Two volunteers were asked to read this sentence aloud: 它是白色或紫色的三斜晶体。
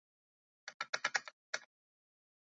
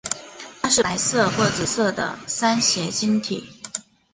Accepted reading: second